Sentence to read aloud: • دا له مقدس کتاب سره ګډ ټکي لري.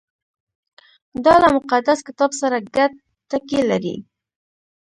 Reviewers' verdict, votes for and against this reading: accepted, 2, 0